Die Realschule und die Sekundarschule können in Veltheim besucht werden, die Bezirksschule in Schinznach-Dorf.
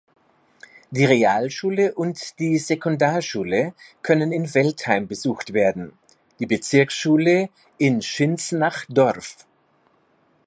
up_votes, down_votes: 2, 0